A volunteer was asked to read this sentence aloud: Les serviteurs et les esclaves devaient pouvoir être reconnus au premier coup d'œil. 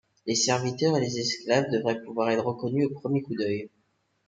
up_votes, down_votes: 2, 1